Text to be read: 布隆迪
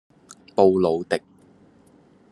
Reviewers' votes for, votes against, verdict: 1, 2, rejected